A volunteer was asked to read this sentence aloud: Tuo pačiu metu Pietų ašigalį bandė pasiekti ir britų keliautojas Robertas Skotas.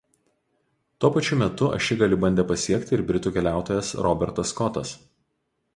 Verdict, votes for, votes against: rejected, 0, 2